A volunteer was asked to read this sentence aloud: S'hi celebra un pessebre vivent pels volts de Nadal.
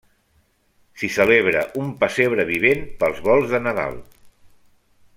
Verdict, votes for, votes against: accepted, 2, 0